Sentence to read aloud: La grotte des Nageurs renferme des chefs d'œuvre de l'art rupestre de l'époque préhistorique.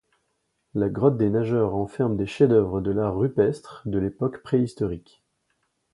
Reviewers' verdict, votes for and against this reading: accepted, 2, 0